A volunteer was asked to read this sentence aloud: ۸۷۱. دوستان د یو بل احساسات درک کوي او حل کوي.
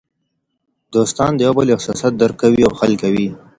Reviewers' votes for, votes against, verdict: 0, 2, rejected